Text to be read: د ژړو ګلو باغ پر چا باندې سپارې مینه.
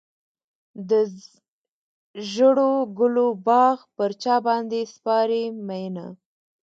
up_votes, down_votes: 2, 0